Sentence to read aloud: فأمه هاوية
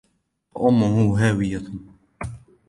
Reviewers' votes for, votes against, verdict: 2, 0, accepted